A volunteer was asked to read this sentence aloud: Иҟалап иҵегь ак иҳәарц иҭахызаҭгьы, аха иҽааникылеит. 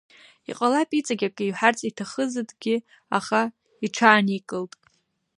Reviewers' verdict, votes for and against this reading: rejected, 0, 2